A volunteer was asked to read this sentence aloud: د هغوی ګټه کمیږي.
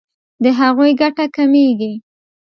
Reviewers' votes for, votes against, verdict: 2, 0, accepted